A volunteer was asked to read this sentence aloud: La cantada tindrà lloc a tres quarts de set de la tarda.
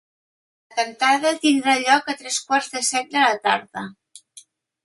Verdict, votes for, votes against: rejected, 1, 2